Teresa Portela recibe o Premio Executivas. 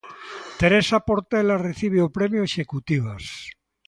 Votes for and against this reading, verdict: 2, 0, accepted